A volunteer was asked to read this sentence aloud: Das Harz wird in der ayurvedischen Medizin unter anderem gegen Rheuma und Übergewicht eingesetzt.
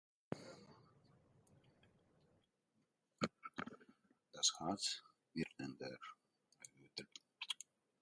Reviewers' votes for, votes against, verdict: 0, 2, rejected